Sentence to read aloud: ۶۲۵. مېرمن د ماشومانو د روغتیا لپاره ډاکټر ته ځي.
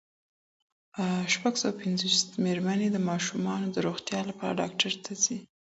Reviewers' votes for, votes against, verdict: 0, 2, rejected